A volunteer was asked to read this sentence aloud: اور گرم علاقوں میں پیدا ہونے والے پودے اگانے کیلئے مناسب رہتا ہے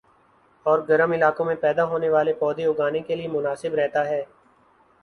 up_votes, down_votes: 3, 0